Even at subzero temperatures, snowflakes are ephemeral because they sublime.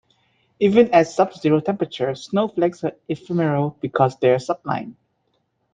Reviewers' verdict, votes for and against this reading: rejected, 1, 2